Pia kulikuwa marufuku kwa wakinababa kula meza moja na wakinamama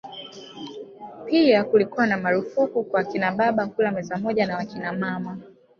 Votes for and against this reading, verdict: 2, 1, accepted